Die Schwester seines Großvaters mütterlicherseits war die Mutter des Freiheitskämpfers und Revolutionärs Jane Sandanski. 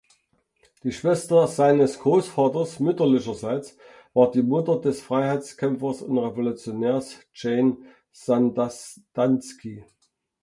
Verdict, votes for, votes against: rejected, 1, 2